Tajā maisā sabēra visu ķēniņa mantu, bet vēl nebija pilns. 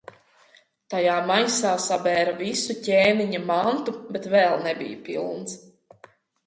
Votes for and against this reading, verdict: 2, 1, accepted